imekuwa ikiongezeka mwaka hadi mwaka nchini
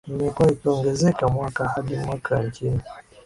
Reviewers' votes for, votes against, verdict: 0, 2, rejected